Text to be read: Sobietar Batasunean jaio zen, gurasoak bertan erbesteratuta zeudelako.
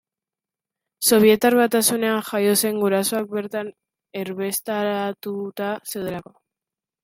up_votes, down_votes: 0, 2